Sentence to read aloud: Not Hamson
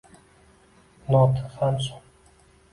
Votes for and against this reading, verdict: 2, 1, accepted